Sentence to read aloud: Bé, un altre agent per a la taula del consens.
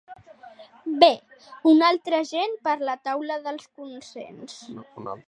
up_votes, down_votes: 0, 2